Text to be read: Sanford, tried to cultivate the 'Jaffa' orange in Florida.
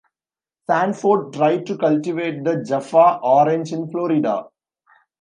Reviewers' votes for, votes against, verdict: 2, 0, accepted